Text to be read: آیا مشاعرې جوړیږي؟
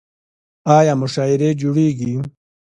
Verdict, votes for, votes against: accepted, 2, 1